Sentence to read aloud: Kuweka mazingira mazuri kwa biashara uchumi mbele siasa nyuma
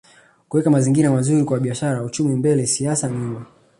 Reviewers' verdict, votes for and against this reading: accepted, 2, 0